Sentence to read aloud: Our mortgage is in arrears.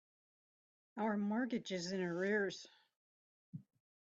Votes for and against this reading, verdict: 2, 3, rejected